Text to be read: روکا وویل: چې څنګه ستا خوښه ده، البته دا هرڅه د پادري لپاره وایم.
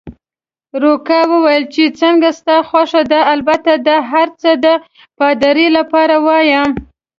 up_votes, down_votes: 2, 0